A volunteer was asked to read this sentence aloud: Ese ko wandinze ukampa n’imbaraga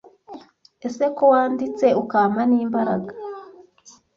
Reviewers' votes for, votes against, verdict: 0, 2, rejected